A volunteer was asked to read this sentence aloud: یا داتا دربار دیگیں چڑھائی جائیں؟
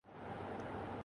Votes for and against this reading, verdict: 0, 2, rejected